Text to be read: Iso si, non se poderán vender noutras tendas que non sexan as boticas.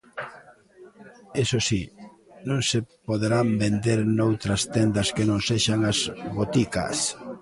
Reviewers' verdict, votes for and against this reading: accepted, 2, 0